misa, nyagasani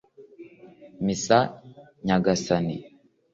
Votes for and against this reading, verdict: 2, 0, accepted